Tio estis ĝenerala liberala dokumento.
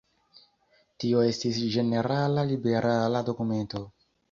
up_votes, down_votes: 3, 0